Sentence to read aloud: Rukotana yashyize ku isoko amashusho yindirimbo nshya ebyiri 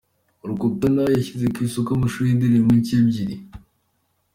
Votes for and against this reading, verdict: 3, 0, accepted